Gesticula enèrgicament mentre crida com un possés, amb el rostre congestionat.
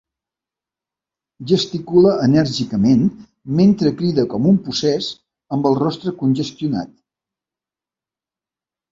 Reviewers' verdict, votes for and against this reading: accepted, 2, 0